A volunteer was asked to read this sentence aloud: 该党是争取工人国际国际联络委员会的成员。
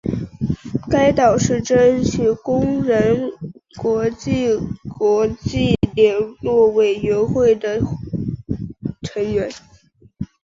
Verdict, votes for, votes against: accepted, 2, 0